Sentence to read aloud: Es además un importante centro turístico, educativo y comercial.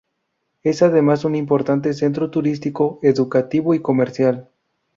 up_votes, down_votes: 2, 0